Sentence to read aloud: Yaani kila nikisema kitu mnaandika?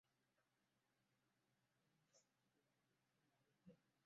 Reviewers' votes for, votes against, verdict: 0, 2, rejected